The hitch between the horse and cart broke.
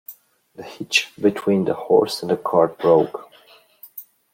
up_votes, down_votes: 0, 2